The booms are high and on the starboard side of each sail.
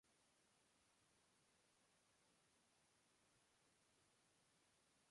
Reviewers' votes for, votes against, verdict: 0, 2, rejected